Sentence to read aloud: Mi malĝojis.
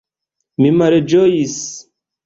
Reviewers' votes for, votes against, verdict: 0, 2, rejected